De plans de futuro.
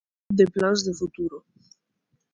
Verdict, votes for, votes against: accepted, 2, 0